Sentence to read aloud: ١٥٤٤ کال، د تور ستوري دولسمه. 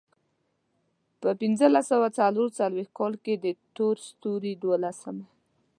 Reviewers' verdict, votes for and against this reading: rejected, 0, 2